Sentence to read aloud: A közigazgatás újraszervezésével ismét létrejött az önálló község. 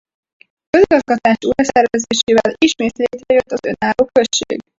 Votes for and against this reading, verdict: 0, 4, rejected